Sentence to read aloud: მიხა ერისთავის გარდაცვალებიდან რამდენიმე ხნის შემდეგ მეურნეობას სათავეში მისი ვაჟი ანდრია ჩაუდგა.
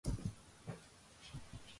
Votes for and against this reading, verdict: 0, 2, rejected